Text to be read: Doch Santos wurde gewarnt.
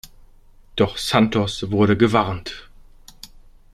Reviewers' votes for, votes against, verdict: 2, 0, accepted